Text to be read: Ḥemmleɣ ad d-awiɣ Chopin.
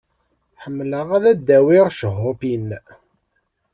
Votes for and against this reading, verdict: 1, 2, rejected